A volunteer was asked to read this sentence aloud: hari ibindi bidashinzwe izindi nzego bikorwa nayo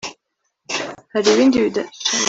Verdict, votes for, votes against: rejected, 0, 2